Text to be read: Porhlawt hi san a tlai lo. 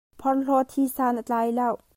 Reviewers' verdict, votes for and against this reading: rejected, 0, 2